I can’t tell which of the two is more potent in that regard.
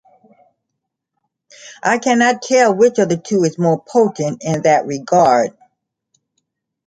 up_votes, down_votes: 0, 2